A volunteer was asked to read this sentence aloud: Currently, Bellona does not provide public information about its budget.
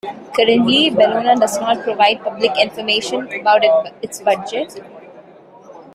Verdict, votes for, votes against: accepted, 3, 0